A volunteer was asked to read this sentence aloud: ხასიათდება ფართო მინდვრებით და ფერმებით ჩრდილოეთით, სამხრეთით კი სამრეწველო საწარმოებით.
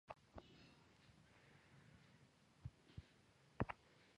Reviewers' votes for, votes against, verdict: 1, 2, rejected